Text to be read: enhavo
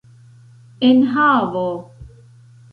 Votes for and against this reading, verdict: 2, 0, accepted